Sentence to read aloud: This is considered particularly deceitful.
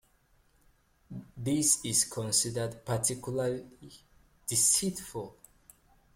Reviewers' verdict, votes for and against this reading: rejected, 0, 4